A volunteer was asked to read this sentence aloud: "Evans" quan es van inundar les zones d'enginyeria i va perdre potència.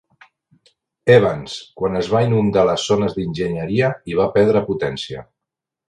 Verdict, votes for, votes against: rejected, 1, 2